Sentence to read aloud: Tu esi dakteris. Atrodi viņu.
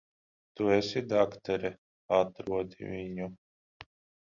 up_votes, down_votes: 0, 10